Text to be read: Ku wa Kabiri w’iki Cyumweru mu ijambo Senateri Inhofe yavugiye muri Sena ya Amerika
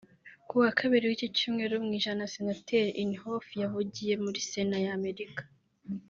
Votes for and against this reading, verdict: 1, 2, rejected